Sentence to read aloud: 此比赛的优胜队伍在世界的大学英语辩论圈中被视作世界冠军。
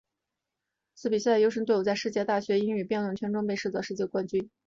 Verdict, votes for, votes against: rejected, 0, 2